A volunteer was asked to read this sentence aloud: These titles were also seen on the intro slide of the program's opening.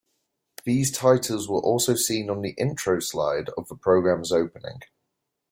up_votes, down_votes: 2, 0